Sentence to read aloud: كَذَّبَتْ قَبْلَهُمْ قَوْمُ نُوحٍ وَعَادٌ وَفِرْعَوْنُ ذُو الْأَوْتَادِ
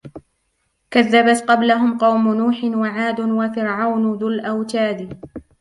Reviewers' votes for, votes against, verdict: 0, 2, rejected